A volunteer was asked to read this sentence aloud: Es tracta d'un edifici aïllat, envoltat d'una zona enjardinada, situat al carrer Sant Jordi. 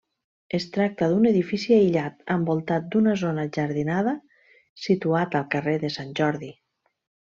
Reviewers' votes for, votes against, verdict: 1, 2, rejected